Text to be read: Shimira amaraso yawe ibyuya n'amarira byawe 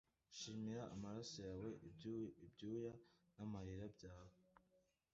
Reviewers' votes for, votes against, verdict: 0, 2, rejected